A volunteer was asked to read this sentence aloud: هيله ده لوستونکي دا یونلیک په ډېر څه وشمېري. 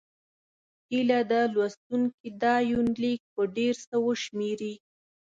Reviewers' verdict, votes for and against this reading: accepted, 2, 0